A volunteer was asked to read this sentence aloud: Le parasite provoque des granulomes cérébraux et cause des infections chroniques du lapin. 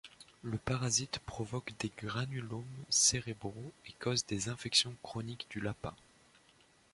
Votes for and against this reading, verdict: 2, 0, accepted